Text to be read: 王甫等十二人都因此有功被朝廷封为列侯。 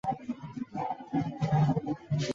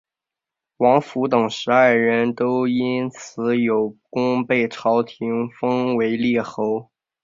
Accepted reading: second